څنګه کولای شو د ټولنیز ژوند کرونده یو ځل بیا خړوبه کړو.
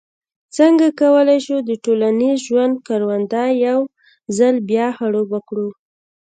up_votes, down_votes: 2, 1